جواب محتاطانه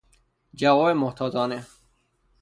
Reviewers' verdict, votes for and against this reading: rejected, 0, 3